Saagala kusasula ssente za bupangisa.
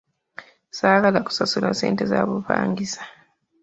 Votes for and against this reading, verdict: 2, 0, accepted